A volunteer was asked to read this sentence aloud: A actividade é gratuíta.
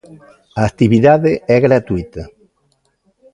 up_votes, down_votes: 2, 0